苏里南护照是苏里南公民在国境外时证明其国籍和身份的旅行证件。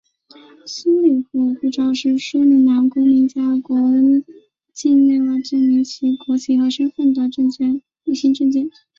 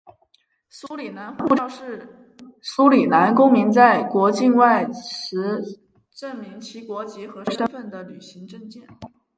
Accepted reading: second